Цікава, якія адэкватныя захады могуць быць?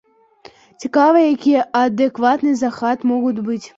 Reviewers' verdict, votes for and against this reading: rejected, 0, 2